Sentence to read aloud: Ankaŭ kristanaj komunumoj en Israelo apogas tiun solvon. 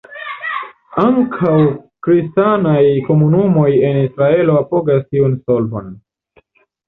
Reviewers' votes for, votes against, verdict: 0, 2, rejected